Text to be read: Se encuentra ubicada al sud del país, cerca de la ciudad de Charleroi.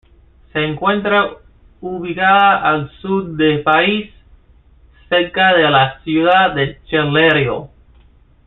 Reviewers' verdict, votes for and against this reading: accepted, 2, 0